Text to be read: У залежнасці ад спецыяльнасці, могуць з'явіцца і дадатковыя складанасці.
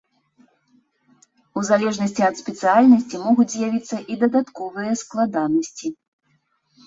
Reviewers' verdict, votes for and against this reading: rejected, 0, 2